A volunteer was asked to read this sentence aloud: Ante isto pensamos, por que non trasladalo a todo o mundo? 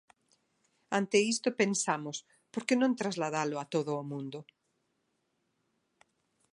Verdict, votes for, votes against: accepted, 2, 0